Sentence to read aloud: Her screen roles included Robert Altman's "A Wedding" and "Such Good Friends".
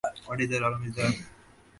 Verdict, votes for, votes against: rejected, 0, 2